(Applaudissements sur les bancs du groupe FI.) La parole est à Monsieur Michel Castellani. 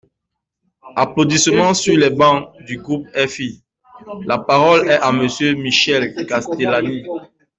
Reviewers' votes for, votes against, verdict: 2, 0, accepted